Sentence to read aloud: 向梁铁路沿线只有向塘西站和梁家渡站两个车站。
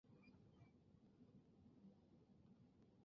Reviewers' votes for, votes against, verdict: 0, 2, rejected